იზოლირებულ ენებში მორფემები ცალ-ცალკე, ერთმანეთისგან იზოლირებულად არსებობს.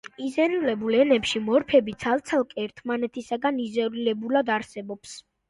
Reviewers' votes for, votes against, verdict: 1, 2, rejected